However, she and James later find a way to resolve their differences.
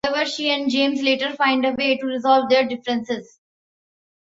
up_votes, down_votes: 1, 2